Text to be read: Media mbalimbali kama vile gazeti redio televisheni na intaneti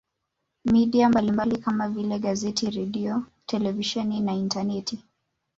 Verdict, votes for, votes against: rejected, 0, 2